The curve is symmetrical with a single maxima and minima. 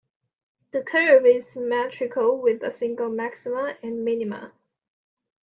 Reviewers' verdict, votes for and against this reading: accepted, 2, 0